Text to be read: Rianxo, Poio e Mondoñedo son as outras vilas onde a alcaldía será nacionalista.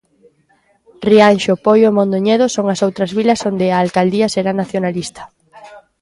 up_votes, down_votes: 2, 0